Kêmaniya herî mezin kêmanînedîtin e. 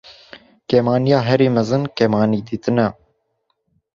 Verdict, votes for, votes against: rejected, 1, 2